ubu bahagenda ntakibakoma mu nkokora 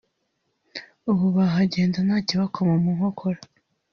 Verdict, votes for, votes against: rejected, 1, 2